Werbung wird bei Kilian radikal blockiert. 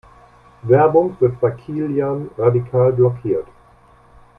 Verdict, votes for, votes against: accepted, 2, 0